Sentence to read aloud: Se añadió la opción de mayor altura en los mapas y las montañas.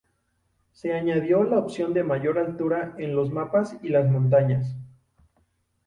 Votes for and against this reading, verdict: 2, 0, accepted